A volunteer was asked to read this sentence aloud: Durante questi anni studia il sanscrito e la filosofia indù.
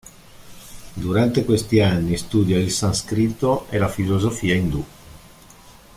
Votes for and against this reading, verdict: 1, 2, rejected